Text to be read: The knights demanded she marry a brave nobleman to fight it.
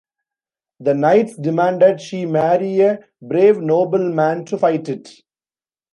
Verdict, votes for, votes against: rejected, 1, 2